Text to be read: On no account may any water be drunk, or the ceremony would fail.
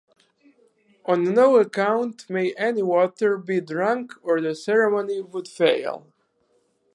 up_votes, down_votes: 4, 0